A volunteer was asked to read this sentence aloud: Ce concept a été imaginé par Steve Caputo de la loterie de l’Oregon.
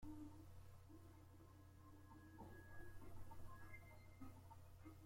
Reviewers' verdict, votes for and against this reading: rejected, 0, 2